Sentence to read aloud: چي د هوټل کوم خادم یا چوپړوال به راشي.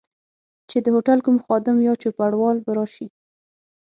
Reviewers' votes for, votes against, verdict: 6, 0, accepted